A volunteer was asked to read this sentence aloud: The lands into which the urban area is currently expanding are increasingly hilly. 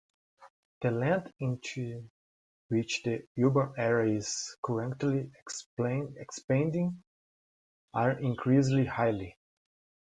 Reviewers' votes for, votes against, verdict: 1, 2, rejected